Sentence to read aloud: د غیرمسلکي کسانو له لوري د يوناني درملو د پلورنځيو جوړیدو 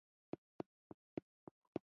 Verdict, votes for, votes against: rejected, 0, 2